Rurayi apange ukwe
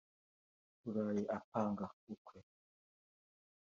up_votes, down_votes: 2, 0